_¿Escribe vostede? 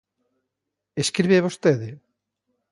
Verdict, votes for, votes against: accepted, 2, 0